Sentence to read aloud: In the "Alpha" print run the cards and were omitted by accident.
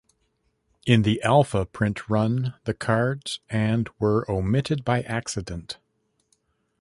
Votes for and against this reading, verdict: 1, 2, rejected